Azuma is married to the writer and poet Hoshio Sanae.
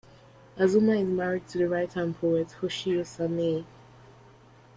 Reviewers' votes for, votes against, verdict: 2, 0, accepted